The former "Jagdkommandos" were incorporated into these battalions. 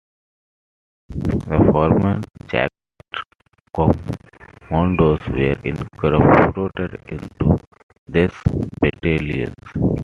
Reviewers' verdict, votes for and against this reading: rejected, 1, 2